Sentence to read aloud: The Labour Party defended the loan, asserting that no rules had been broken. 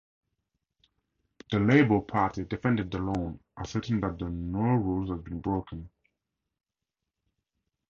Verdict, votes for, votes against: accepted, 2, 0